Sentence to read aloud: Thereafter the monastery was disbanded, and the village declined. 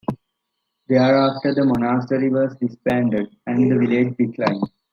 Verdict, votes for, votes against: rejected, 0, 2